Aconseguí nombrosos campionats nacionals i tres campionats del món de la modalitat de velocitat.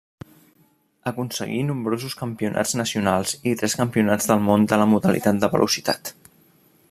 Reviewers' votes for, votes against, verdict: 2, 0, accepted